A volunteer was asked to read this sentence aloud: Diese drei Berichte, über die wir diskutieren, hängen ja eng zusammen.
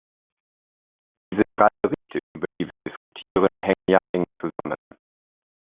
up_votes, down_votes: 0, 2